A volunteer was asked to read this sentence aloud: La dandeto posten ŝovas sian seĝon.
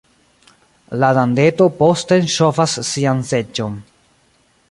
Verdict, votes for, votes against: accepted, 2, 0